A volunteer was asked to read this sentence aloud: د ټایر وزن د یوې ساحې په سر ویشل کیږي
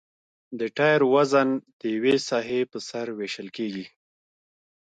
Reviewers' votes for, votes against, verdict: 2, 0, accepted